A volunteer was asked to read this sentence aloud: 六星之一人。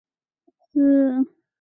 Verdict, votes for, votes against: rejected, 0, 3